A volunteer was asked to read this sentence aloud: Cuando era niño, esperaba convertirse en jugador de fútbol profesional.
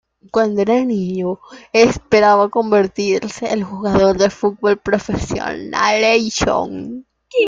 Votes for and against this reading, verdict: 0, 2, rejected